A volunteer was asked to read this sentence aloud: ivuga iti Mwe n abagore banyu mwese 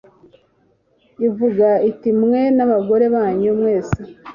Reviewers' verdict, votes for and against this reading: accepted, 2, 0